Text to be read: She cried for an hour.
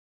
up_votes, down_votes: 0, 2